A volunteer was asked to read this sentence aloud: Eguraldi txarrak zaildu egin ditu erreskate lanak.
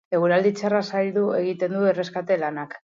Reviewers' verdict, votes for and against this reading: accepted, 4, 2